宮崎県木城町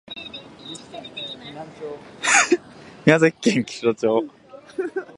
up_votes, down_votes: 0, 2